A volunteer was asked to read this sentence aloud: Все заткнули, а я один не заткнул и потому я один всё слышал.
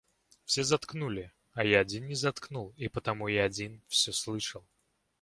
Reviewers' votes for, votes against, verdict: 2, 0, accepted